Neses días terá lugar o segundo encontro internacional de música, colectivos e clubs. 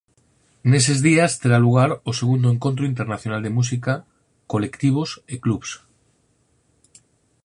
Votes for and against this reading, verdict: 4, 0, accepted